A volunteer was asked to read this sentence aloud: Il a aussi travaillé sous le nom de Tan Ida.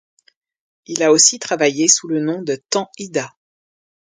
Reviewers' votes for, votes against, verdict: 2, 0, accepted